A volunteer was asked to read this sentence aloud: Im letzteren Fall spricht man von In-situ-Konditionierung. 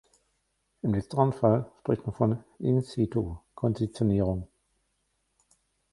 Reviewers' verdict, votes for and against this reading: rejected, 1, 2